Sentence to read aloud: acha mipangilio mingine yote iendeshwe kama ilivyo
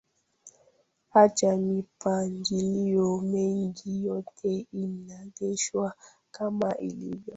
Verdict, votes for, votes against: rejected, 1, 2